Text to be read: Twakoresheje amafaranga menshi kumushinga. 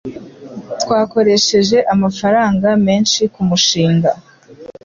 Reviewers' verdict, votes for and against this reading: accepted, 2, 0